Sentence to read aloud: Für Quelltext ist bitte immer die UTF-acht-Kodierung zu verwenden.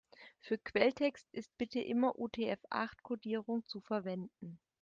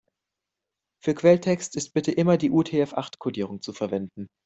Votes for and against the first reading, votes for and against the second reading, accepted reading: 0, 2, 2, 0, second